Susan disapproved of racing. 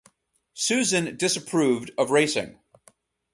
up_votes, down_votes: 4, 0